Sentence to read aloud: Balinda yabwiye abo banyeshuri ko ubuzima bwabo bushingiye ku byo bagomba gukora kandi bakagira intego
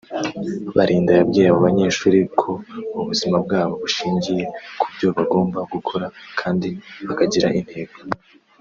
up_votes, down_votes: 2, 0